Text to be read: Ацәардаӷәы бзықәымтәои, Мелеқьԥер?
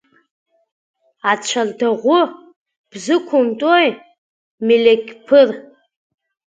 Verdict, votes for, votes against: rejected, 1, 3